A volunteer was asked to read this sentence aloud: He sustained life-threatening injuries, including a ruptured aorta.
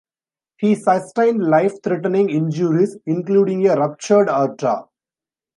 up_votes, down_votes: 1, 2